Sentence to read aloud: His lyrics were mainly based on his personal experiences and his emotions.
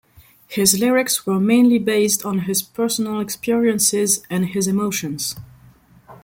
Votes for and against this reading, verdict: 2, 0, accepted